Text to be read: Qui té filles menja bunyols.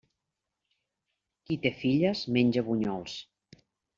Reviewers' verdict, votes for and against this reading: accepted, 3, 0